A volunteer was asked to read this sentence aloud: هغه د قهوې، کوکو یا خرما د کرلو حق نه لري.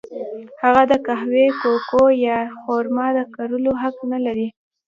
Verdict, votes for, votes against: rejected, 1, 2